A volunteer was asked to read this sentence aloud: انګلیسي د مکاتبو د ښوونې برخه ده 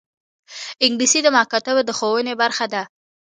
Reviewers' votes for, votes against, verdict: 2, 0, accepted